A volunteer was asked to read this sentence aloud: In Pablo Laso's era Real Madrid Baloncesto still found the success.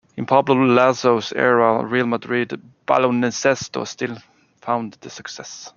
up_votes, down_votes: 1, 2